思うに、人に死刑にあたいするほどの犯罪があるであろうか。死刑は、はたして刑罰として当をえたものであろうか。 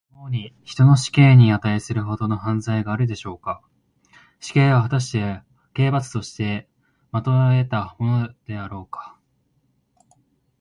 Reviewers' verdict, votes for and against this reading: rejected, 0, 2